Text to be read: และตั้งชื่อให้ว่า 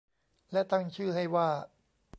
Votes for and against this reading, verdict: 2, 0, accepted